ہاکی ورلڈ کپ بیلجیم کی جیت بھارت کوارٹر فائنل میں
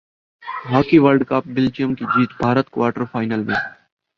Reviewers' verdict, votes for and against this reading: rejected, 1, 2